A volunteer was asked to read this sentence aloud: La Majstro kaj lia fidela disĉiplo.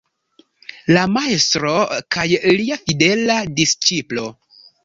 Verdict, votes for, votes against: accepted, 2, 0